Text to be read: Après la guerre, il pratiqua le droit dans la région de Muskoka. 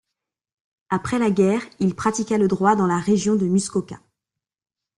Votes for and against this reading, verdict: 2, 0, accepted